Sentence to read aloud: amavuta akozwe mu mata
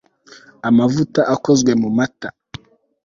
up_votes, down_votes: 3, 0